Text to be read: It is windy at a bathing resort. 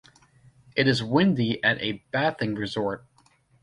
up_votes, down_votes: 1, 2